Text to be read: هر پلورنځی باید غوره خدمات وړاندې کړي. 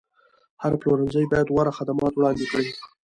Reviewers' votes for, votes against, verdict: 2, 0, accepted